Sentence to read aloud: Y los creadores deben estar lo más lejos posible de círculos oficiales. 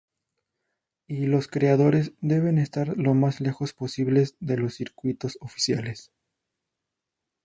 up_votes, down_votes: 2, 2